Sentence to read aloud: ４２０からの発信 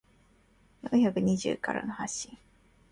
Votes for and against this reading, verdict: 0, 2, rejected